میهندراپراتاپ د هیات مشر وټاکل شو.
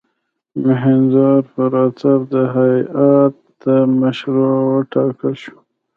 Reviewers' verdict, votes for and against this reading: accepted, 2, 1